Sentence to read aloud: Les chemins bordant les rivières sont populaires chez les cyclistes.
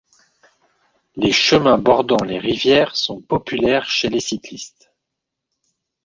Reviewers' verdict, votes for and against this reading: accepted, 2, 0